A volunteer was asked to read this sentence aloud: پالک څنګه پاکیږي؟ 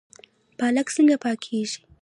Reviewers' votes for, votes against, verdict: 1, 2, rejected